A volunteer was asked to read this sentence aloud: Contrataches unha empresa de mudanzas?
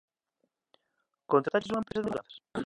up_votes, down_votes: 0, 2